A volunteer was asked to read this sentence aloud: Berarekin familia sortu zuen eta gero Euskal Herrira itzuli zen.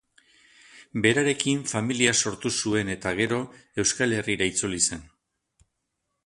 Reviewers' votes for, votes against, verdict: 8, 0, accepted